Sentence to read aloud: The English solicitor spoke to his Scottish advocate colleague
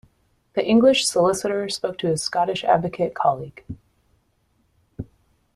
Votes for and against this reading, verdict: 2, 0, accepted